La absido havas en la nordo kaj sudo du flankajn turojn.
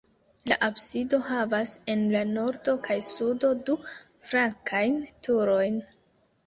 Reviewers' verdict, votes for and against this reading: accepted, 2, 0